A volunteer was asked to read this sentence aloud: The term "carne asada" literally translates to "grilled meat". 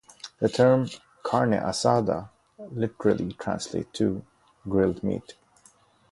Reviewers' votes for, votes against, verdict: 0, 2, rejected